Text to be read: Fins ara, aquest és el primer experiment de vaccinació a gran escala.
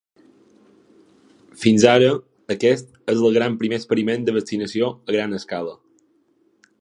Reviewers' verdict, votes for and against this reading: rejected, 0, 2